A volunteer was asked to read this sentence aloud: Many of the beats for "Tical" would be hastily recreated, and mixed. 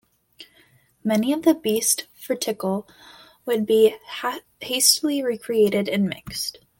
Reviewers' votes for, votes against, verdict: 0, 2, rejected